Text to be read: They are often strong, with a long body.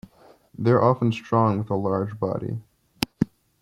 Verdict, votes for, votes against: rejected, 1, 2